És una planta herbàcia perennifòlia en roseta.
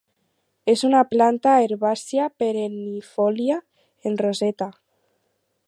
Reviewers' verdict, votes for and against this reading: accepted, 4, 0